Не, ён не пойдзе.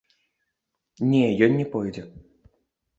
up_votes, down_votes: 0, 2